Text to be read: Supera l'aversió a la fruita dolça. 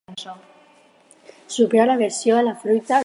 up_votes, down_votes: 4, 2